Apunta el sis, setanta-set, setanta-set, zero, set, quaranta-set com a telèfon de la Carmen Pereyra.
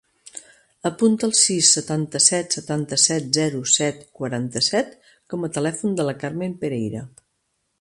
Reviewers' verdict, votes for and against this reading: accepted, 2, 0